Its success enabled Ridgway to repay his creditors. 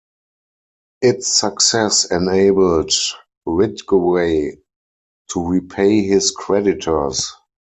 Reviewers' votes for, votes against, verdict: 2, 4, rejected